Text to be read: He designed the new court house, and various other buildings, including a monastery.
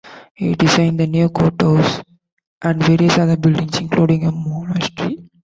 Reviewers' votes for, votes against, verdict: 2, 1, accepted